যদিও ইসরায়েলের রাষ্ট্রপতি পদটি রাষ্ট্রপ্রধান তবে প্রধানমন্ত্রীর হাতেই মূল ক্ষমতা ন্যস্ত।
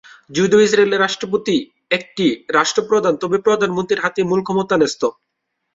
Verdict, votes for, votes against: rejected, 0, 2